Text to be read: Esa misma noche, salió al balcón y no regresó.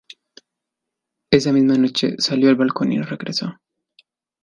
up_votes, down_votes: 2, 0